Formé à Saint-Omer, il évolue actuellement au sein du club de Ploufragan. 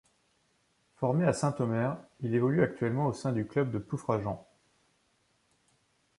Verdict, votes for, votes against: rejected, 1, 2